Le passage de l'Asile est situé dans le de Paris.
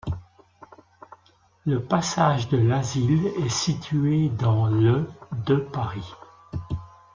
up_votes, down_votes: 2, 1